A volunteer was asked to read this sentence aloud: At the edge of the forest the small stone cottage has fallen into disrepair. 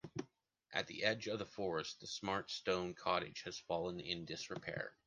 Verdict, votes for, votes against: rejected, 1, 2